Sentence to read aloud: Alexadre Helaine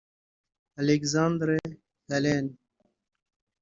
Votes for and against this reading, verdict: 0, 2, rejected